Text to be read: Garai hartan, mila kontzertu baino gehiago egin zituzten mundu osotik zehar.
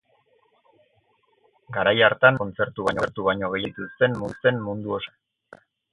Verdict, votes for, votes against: rejected, 0, 4